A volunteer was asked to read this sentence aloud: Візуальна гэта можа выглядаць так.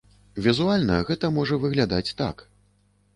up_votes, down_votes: 2, 0